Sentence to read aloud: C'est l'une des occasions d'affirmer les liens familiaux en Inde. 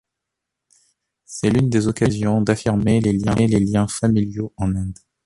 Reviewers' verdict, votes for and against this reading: accepted, 2, 1